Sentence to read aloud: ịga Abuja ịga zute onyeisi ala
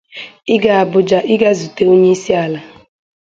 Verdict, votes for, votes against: accepted, 2, 0